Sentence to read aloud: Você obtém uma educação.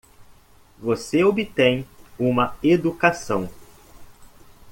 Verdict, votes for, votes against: accepted, 2, 1